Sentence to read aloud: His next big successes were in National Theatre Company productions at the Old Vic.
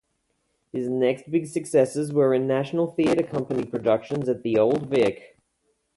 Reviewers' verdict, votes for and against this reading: rejected, 0, 2